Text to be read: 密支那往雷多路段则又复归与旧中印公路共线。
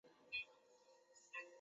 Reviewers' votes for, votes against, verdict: 0, 2, rejected